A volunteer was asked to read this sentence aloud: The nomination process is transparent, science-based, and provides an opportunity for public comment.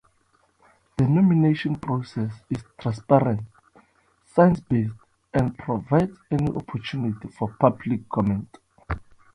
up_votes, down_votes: 2, 0